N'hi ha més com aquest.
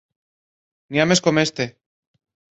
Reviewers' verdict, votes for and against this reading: rejected, 1, 2